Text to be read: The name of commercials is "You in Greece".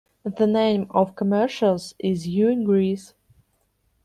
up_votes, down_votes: 1, 2